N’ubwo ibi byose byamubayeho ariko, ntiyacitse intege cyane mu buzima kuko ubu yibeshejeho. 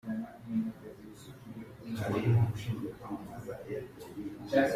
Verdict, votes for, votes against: rejected, 0, 2